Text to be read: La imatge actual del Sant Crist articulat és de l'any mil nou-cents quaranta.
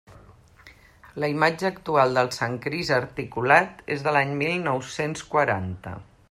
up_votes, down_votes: 2, 0